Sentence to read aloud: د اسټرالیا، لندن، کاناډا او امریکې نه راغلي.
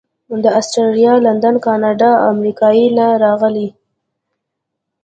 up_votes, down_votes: 1, 2